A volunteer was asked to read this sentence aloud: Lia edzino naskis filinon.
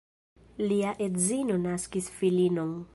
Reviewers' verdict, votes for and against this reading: accepted, 2, 1